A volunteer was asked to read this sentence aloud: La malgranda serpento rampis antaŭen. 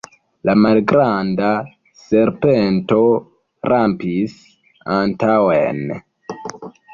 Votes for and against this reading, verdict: 1, 2, rejected